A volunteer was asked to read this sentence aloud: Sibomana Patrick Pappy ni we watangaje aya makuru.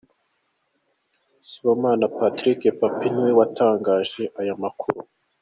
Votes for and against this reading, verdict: 2, 0, accepted